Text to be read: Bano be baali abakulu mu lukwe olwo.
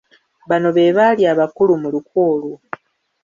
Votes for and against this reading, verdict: 2, 0, accepted